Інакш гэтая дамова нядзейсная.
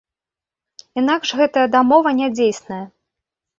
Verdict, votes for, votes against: accepted, 2, 0